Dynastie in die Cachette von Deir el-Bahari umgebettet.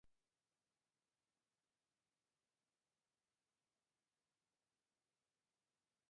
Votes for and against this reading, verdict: 0, 2, rejected